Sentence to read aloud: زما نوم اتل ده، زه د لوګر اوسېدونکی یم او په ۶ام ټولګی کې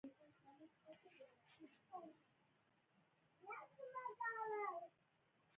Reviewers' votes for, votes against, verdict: 0, 2, rejected